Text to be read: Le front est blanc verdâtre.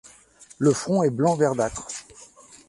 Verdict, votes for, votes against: accepted, 2, 0